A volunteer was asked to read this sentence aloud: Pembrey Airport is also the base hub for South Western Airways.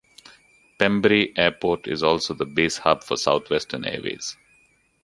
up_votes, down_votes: 2, 0